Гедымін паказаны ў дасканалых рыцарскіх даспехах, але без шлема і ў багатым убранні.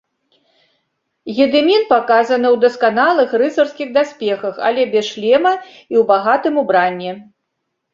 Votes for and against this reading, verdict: 3, 0, accepted